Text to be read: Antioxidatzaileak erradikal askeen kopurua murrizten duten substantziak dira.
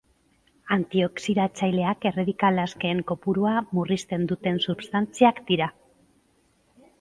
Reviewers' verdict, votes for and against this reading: accepted, 4, 0